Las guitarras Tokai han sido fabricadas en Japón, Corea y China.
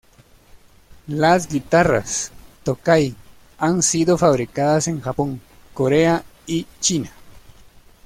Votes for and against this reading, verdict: 2, 0, accepted